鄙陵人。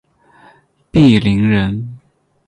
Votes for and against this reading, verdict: 12, 2, accepted